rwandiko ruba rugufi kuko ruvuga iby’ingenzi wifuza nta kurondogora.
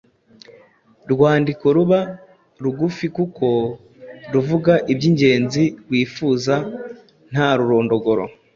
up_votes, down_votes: 1, 2